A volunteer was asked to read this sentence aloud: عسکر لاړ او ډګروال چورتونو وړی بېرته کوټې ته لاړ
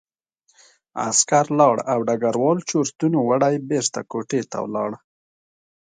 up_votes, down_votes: 2, 0